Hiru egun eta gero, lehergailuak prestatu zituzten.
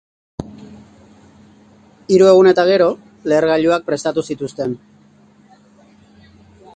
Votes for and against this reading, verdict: 2, 1, accepted